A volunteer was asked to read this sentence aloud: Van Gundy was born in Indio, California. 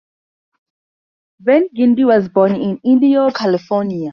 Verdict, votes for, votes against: accepted, 4, 0